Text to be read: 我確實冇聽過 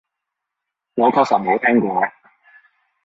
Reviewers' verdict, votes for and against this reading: accepted, 2, 1